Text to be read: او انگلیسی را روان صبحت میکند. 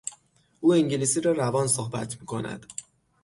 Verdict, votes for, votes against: accepted, 6, 0